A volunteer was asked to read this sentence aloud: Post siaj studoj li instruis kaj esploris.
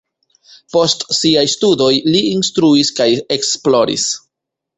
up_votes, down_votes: 1, 2